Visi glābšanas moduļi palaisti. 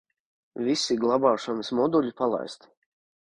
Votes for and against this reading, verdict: 1, 2, rejected